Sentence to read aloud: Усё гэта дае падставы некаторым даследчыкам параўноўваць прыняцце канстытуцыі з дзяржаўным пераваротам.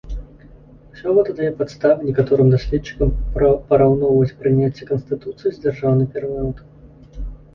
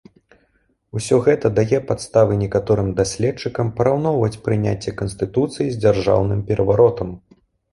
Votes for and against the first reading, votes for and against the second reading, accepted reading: 1, 2, 2, 0, second